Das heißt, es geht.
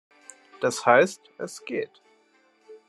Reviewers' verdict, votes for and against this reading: accepted, 2, 0